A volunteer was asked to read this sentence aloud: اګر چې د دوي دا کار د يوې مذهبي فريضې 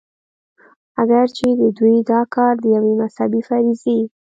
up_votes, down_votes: 2, 0